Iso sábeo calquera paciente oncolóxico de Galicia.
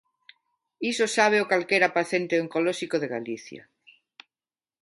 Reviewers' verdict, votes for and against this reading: rejected, 1, 2